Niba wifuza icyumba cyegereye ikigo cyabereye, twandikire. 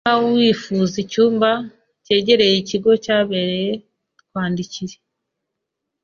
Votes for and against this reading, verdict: 2, 0, accepted